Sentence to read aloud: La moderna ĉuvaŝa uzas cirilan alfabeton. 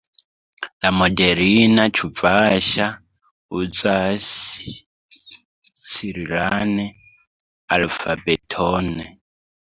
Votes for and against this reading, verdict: 0, 2, rejected